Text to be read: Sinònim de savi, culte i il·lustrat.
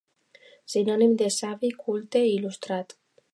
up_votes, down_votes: 2, 0